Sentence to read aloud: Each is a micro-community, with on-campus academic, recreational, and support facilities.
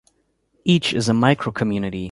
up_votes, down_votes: 0, 2